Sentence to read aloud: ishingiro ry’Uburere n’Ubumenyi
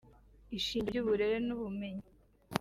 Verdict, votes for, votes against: rejected, 0, 2